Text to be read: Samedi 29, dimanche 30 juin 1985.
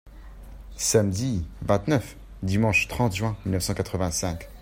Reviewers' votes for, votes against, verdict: 0, 2, rejected